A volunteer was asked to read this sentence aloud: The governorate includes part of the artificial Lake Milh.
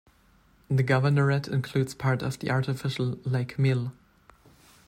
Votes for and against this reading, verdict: 2, 0, accepted